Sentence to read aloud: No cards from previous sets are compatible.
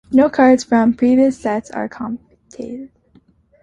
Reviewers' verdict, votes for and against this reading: rejected, 0, 2